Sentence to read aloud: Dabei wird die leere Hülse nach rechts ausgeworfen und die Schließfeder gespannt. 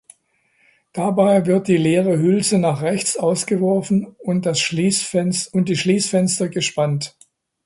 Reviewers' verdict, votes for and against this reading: rejected, 0, 2